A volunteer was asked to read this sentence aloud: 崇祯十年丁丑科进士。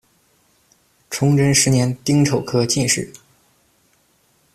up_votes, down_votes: 2, 0